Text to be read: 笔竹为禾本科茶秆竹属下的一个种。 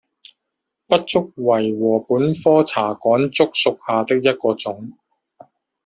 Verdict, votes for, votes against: rejected, 1, 2